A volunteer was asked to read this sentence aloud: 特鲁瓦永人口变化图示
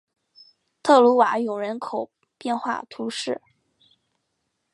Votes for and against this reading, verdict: 2, 0, accepted